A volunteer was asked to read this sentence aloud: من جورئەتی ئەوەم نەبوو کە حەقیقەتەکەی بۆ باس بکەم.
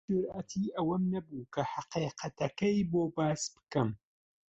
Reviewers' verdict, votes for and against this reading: rejected, 0, 2